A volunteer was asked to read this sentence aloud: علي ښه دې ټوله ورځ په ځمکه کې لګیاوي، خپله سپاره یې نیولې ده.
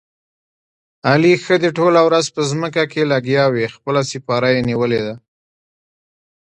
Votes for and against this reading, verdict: 2, 1, accepted